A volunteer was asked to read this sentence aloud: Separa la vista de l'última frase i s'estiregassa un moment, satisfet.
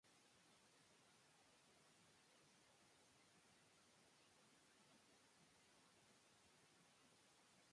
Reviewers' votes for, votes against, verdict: 1, 2, rejected